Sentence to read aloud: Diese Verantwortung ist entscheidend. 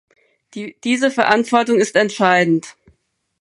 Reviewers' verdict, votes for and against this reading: rejected, 2, 4